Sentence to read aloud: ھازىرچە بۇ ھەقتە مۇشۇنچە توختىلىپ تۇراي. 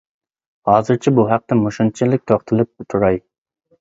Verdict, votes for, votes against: rejected, 1, 2